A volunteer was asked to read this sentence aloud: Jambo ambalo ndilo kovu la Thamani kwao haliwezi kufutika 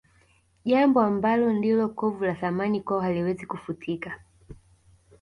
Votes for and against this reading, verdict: 2, 0, accepted